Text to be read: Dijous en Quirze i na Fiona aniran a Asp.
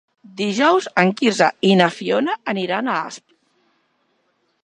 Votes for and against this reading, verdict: 4, 0, accepted